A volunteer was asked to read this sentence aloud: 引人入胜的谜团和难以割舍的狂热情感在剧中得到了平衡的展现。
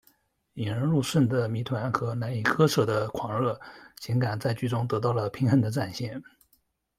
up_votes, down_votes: 1, 2